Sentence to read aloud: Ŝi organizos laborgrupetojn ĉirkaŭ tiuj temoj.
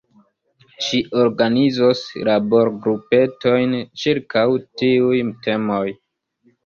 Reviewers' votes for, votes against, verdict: 3, 0, accepted